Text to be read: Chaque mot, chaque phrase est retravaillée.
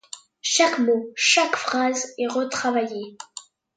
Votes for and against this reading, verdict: 2, 0, accepted